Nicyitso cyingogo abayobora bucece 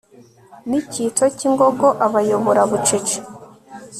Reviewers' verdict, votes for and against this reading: accepted, 2, 0